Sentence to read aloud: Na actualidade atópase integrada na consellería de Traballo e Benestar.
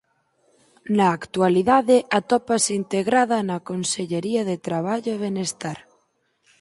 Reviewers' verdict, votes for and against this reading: accepted, 4, 0